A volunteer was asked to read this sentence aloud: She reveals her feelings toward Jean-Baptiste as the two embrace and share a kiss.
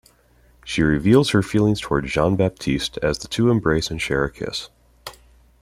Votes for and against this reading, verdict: 3, 0, accepted